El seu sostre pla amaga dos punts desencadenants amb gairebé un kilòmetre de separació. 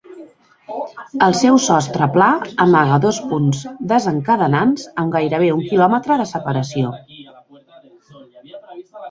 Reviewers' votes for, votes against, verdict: 1, 2, rejected